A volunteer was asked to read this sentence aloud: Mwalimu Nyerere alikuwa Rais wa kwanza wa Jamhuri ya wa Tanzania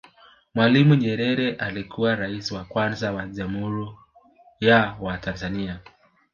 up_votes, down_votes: 0, 2